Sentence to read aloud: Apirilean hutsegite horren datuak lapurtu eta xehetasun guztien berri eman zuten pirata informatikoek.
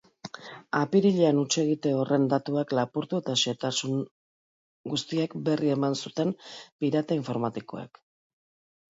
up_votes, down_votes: 0, 2